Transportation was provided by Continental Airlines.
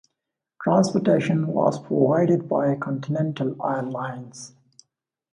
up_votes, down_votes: 1, 2